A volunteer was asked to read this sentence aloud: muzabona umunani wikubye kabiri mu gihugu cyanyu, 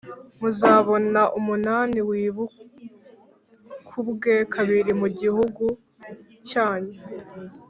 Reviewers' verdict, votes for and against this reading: rejected, 0, 2